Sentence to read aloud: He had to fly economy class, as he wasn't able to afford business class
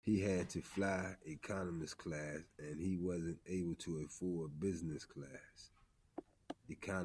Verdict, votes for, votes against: rejected, 0, 2